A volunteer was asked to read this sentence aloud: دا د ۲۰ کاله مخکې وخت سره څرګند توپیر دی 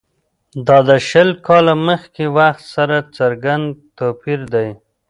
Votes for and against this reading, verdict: 0, 2, rejected